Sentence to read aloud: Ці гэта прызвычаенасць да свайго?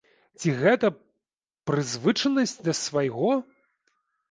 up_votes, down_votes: 0, 2